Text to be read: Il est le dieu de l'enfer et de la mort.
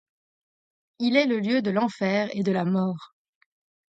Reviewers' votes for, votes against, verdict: 1, 2, rejected